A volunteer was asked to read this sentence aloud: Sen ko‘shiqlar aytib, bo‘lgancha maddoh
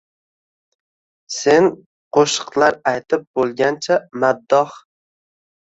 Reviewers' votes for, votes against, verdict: 2, 1, accepted